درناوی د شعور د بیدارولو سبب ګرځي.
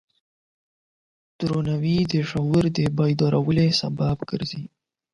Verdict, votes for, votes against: rejected, 4, 8